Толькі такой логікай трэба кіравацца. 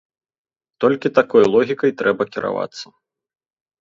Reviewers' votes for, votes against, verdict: 3, 0, accepted